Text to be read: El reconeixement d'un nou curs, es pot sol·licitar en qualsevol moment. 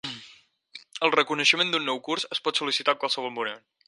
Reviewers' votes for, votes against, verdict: 0, 4, rejected